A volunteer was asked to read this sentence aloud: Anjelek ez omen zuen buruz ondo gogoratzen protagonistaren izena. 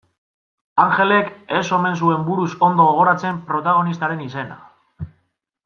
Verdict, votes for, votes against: accepted, 2, 0